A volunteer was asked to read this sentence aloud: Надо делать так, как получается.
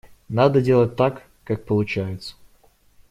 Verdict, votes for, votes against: accepted, 2, 0